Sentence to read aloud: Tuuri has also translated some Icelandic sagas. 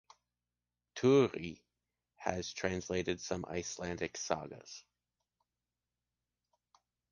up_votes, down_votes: 1, 2